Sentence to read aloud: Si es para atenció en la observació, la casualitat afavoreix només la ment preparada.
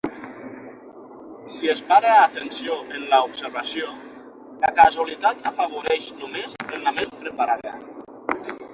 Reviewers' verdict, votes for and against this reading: accepted, 6, 0